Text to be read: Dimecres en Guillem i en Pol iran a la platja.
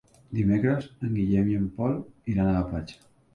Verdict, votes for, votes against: accepted, 4, 0